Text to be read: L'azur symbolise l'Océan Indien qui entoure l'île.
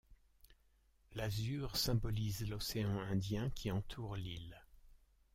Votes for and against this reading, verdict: 0, 2, rejected